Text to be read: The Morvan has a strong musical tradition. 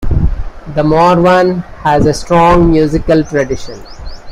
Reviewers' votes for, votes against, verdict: 2, 1, accepted